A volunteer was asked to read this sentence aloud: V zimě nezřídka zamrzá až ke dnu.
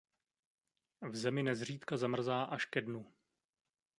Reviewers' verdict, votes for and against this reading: rejected, 0, 2